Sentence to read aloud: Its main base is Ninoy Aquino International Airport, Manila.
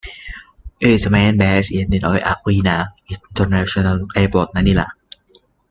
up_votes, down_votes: 0, 2